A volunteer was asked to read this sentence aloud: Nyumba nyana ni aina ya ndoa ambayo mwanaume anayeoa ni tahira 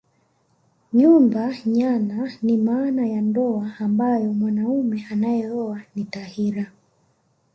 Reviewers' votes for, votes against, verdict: 2, 1, accepted